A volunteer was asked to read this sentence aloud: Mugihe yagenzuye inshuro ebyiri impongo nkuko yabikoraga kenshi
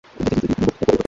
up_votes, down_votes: 1, 3